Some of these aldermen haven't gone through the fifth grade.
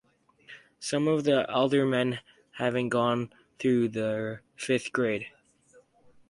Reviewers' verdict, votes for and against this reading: rejected, 2, 2